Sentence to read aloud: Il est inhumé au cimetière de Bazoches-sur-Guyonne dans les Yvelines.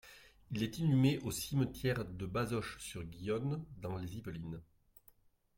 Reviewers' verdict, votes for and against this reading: accepted, 2, 0